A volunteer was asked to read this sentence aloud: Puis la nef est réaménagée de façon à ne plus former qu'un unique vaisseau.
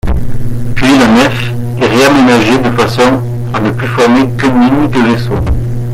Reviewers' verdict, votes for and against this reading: accepted, 2, 1